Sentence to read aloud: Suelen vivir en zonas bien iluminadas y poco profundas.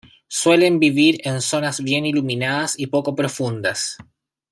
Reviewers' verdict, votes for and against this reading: accepted, 2, 0